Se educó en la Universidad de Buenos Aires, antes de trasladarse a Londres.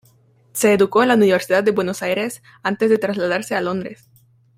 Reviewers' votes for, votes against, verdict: 2, 0, accepted